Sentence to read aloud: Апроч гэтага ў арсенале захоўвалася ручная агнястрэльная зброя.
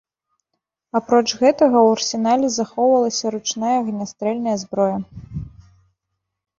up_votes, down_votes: 2, 0